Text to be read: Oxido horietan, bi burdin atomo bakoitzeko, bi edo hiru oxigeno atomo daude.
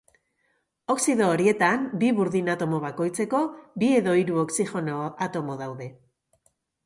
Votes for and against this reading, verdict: 0, 2, rejected